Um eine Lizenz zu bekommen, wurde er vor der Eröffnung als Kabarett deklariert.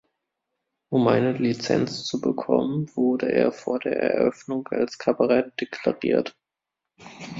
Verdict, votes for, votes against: accepted, 2, 1